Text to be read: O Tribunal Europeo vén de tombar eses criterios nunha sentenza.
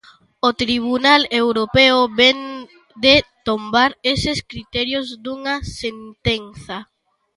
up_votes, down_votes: 0, 2